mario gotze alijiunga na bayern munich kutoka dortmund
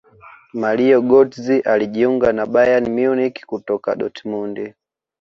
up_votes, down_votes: 2, 1